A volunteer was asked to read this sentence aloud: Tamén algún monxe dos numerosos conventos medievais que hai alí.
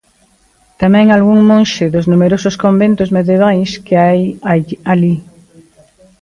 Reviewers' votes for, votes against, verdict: 0, 2, rejected